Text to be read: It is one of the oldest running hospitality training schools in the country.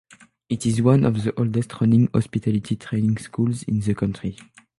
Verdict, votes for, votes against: accepted, 3, 0